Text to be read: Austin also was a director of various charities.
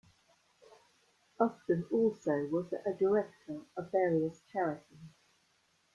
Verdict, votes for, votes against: accepted, 2, 1